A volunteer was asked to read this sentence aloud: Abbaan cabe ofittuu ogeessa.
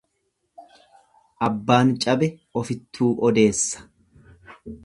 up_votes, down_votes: 1, 2